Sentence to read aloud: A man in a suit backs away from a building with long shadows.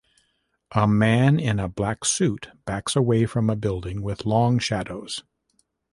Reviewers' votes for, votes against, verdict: 1, 2, rejected